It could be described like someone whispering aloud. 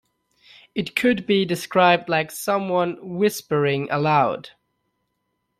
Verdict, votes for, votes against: accepted, 2, 0